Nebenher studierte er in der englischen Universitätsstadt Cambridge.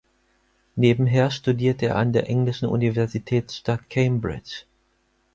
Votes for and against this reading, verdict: 0, 4, rejected